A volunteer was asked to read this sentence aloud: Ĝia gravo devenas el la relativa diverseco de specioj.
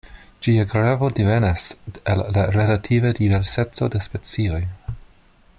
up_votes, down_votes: 0, 2